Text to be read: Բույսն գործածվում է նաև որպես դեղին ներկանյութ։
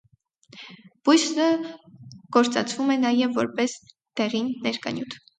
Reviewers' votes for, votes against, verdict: 0, 4, rejected